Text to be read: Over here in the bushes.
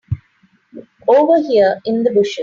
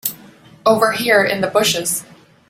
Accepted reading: second